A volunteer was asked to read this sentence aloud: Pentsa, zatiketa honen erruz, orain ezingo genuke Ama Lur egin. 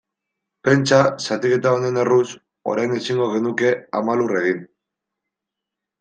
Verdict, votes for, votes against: accepted, 2, 0